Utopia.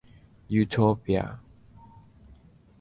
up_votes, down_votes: 2, 0